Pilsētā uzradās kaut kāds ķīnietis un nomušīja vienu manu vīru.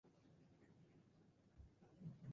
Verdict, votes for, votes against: rejected, 0, 2